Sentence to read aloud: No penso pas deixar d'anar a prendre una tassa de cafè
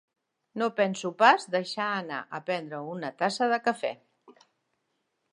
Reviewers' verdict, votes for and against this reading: rejected, 0, 2